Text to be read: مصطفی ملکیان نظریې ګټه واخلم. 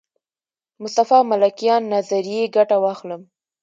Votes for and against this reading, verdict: 2, 0, accepted